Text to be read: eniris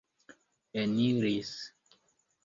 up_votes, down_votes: 3, 1